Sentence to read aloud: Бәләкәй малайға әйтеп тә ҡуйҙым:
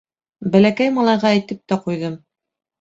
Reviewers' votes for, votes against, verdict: 2, 0, accepted